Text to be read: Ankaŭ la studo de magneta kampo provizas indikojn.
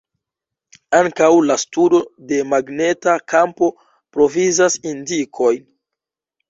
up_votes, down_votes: 1, 2